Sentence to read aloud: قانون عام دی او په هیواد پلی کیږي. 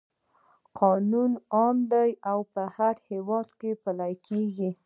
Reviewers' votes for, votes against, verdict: 2, 0, accepted